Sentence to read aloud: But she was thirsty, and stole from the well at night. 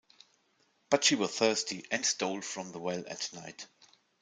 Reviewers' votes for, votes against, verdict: 3, 0, accepted